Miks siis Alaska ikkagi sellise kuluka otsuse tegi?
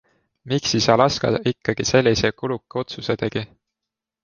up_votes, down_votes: 2, 0